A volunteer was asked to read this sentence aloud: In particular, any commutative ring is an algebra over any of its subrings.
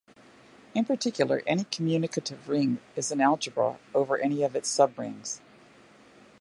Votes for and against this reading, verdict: 0, 2, rejected